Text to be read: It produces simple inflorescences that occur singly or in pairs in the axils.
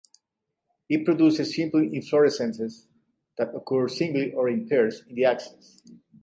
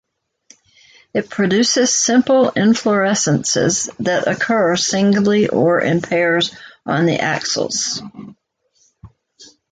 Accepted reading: first